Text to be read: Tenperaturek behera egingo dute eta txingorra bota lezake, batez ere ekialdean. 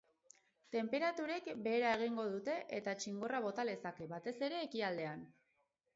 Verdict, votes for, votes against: accepted, 4, 0